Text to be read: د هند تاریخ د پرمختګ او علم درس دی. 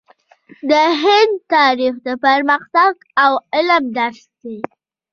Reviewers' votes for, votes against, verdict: 2, 0, accepted